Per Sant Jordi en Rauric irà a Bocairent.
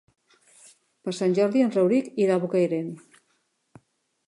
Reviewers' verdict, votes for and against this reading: rejected, 0, 2